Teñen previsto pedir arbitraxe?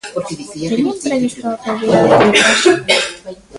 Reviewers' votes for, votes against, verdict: 0, 2, rejected